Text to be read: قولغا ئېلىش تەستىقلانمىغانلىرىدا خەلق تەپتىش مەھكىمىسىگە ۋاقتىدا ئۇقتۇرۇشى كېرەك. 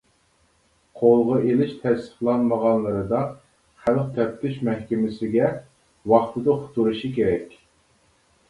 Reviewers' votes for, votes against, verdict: 2, 0, accepted